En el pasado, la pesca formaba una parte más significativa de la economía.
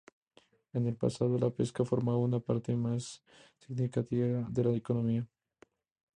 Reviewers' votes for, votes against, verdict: 2, 0, accepted